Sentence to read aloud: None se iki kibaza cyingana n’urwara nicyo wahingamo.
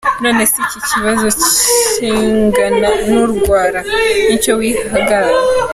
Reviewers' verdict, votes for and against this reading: rejected, 0, 2